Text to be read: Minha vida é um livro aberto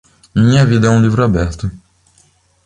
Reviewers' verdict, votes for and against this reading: accepted, 2, 0